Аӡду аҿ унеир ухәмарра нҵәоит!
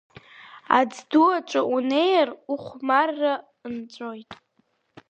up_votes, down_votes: 3, 1